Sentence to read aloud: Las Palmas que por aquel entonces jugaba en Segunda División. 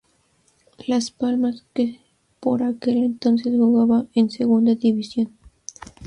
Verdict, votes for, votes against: rejected, 0, 2